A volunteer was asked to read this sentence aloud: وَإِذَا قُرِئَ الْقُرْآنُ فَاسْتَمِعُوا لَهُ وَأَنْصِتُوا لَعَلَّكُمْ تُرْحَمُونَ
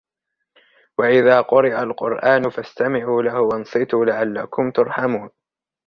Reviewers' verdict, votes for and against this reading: rejected, 1, 2